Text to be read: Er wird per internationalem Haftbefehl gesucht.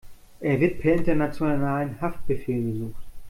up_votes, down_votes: 1, 2